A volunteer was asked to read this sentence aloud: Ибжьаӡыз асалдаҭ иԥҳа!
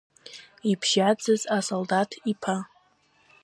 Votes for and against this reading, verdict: 1, 2, rejected